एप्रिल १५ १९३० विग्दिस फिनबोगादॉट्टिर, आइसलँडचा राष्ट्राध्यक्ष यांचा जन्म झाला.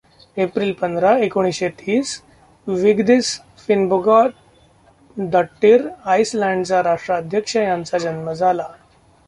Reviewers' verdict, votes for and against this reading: rejected, 0, 2